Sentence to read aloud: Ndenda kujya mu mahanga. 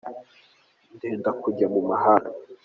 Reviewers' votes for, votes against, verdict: 2, 0, accepted